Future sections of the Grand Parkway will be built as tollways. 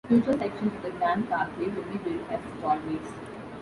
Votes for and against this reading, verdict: 2, 1, accepted